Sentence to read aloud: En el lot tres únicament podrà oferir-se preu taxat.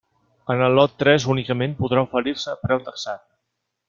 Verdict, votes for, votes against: accepted, 3, 0